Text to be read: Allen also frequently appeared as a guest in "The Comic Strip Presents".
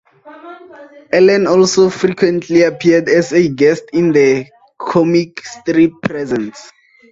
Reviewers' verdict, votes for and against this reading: accepted, 2, 0